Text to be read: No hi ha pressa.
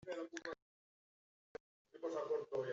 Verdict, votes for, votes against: rejected, 0, 2